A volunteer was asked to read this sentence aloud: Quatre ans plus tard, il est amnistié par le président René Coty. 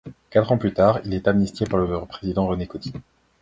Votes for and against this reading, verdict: 1, 2, rejected